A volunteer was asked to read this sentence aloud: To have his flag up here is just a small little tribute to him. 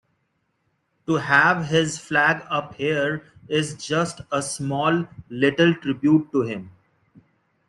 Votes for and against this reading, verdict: 2, 0, accepted